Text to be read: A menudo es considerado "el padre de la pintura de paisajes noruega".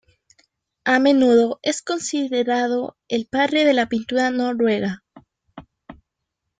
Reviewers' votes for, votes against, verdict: 1, 2, rejected